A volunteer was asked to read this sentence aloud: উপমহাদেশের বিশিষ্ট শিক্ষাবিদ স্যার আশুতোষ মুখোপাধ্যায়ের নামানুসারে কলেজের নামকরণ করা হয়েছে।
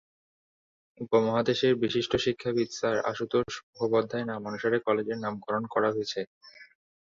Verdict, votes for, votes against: accepted, 6, 1